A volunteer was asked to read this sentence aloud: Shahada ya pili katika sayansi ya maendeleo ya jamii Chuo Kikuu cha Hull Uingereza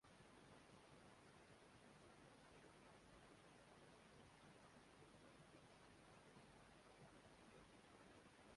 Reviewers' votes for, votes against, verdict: 0, 2, rejected